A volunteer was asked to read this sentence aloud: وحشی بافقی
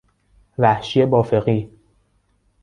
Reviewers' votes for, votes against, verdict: 0, 2, rejected